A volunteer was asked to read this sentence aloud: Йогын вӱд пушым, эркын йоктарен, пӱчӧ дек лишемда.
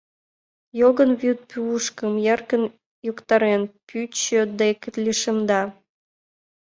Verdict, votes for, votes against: rejected, 0, 2